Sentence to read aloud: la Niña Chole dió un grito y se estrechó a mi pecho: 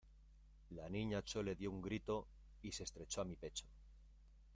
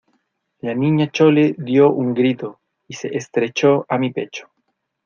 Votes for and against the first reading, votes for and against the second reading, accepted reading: 0, 2, 2, 0, second